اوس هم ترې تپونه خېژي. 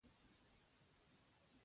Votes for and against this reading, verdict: 1, 2, rejected